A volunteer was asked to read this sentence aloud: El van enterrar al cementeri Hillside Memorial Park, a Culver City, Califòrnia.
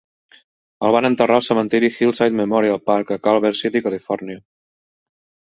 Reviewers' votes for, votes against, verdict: 2, 1, accepted